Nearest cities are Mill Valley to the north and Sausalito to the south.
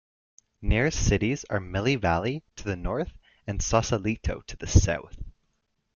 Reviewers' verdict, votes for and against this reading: rejected, 1, 2